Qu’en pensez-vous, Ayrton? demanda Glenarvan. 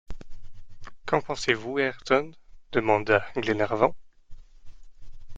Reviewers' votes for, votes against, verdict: 2, 0, accepted